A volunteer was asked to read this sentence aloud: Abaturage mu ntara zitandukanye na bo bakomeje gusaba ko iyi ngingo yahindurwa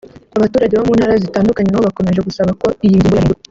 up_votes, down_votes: 1, 2